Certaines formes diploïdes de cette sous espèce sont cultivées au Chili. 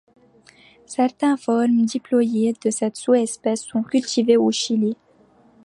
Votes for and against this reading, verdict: 1, 2, rejected